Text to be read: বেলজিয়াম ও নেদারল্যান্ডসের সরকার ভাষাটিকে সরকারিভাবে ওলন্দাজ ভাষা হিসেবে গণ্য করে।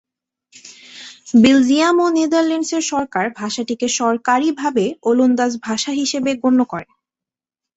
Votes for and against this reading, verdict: 2, 0, accepted